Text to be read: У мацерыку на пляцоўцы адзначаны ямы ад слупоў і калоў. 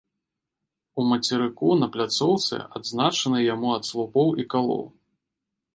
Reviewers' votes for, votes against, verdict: 1, 2, rejected